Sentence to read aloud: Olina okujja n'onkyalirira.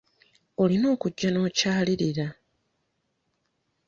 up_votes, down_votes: 1, 2